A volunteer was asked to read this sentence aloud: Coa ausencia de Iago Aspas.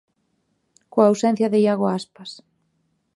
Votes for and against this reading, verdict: 2, 0, accepted